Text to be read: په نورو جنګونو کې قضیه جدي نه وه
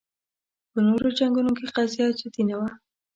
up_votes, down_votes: 4, 0